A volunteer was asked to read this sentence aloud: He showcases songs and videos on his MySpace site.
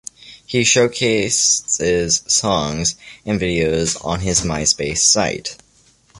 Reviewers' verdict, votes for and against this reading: rejected, 1, 2